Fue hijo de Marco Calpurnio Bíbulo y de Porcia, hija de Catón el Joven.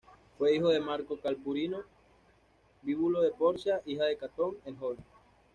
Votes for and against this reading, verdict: 1, 2, rejected